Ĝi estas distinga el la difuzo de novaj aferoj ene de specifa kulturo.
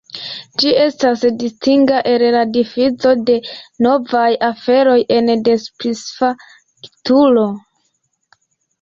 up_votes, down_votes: 2, 1